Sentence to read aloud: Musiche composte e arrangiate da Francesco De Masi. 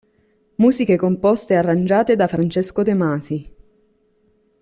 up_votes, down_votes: 2, 0